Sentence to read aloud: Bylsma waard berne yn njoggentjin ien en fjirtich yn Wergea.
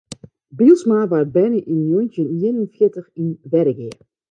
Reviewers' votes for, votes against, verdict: 1, 2, rejected